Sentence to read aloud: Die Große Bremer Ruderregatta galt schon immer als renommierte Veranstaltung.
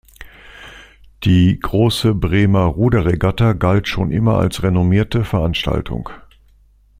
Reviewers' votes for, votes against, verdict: 2, 0, accepted